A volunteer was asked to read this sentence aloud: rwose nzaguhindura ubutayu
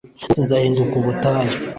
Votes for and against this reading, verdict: 1, 2, rejected